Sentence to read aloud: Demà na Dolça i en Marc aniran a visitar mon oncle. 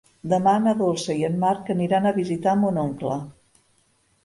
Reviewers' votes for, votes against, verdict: 3, 0, accepted